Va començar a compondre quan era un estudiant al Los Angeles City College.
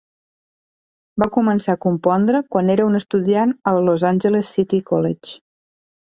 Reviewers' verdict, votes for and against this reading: accepted, 2, 1